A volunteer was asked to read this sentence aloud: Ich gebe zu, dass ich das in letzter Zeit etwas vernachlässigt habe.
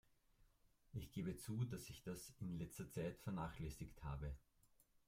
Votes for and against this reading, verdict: 2, 3, rejected